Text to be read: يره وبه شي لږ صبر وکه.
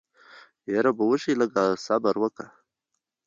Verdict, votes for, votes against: accepted, 2, 1